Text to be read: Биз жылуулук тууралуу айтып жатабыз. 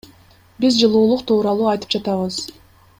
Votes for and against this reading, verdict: 2, 0, accepted